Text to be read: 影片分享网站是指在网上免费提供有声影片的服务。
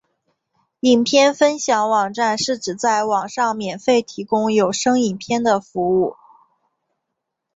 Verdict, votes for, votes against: accepted, 2, 0